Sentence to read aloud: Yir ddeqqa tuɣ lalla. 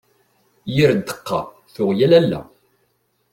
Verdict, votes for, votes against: rejected, 0, 2